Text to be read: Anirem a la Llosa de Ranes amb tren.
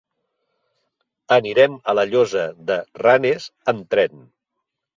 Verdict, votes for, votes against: accepted, 3, 0